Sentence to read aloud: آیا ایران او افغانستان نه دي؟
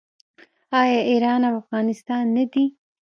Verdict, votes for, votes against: accepted, 2, 0